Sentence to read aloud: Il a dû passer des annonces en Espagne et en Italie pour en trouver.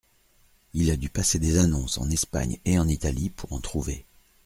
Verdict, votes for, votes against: accepted, 2, 0